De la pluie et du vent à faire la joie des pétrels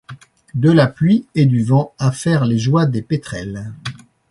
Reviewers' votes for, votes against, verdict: 1, 2, rejected